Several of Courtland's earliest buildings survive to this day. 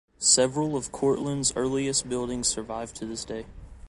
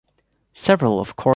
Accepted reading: first